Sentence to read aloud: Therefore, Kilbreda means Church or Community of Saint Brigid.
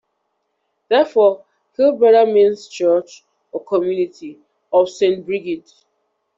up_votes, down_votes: 2, 1